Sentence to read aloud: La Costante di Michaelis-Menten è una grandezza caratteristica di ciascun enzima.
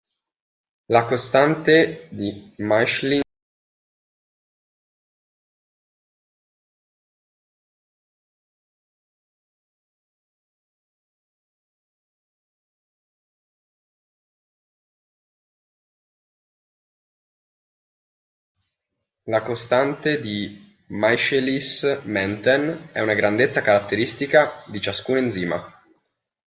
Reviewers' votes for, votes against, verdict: 0, 2, rejected